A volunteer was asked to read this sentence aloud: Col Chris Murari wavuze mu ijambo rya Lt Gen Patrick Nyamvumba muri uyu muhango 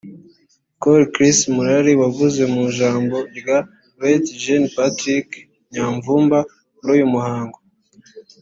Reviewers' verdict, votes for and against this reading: accepted, 3, 0